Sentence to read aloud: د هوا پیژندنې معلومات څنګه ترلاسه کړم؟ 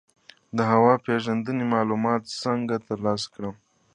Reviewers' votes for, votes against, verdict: 2, 1, accepted